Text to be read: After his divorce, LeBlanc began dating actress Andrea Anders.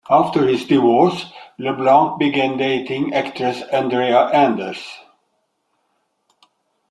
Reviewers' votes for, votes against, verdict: 2, 0, accepted